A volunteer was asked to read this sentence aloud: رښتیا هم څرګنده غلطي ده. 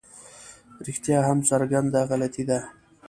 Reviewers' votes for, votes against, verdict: 2, 0, accepted